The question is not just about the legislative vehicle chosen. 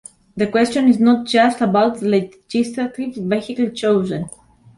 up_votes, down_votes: 0, 2